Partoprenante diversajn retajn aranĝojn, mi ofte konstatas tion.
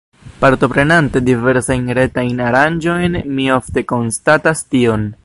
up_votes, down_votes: 2, 0